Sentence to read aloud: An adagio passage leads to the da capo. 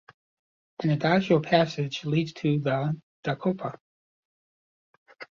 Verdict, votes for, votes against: rejected, 1, 2